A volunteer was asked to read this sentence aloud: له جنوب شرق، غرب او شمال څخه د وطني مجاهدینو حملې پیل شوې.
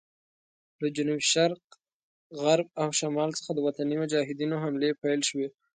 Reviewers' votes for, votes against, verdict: 2, 0, accepted